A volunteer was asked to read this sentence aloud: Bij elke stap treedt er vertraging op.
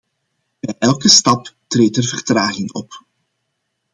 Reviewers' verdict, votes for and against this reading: accepted, 2, 0